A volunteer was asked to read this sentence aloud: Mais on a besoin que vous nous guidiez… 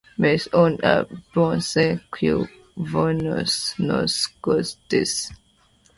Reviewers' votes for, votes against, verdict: 1, 2, rejected